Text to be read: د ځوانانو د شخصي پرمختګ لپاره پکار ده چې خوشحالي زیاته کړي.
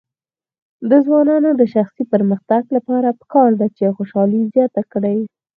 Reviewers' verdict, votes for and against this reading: rejected, 2, 4